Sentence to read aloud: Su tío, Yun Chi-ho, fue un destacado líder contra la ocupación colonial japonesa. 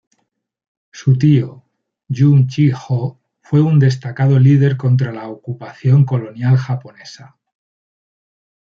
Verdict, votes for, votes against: rejected, 0, 2